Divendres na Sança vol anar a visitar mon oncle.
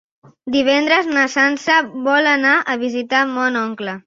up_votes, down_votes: 3, 0